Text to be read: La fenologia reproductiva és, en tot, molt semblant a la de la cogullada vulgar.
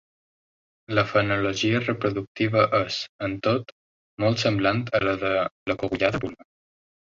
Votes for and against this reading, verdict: 0, 3, rejected